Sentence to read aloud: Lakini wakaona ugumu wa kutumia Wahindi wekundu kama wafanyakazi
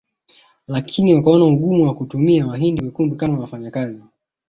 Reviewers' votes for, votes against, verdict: 6, 0, accepted